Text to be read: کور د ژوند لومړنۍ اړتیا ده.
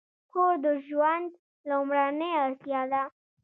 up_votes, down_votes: 1, 2